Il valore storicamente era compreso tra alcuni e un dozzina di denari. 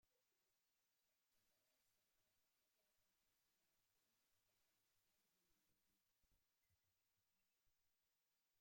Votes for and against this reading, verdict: 0, 2, rejected